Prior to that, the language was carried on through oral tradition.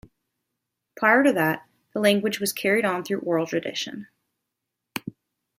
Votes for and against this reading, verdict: 0, 2, rejected